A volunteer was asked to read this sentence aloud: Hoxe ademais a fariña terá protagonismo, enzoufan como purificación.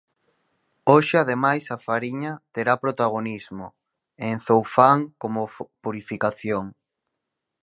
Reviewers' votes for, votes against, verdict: 0, 4, rejected